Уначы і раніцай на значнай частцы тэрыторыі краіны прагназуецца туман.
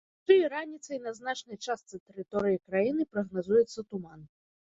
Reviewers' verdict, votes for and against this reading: rejected, 1, 2